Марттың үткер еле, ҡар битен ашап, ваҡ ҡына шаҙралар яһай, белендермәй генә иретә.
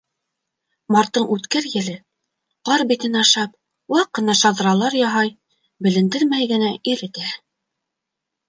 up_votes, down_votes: 3, 0